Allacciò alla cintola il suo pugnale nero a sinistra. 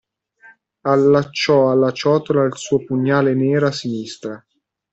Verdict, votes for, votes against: rejected, 1, 2